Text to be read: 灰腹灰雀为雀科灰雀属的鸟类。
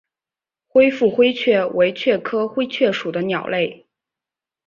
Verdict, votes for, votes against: accepted, 3, 0